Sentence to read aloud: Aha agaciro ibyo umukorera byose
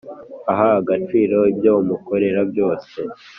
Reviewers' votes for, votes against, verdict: 3, 0, accepted